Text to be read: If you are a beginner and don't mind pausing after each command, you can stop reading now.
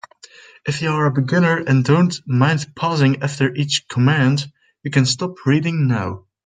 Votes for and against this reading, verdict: 2, 0, accepted